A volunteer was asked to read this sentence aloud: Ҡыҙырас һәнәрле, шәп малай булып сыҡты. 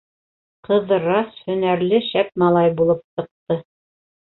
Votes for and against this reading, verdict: 0, 2, rejected